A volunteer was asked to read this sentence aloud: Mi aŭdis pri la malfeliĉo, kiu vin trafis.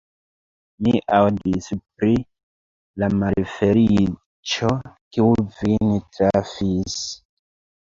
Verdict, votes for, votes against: accepted, 2, 0